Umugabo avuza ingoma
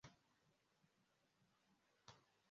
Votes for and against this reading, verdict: 0, 2, rejected